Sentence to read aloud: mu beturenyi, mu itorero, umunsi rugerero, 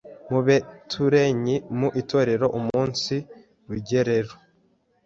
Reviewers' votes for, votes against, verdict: 1, 2, rejected